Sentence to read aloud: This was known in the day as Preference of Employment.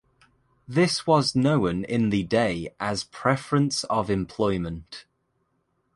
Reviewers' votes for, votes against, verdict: 2, 0, accepted